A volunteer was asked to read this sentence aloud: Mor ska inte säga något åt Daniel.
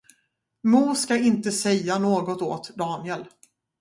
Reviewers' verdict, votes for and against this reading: accepted, 2, 0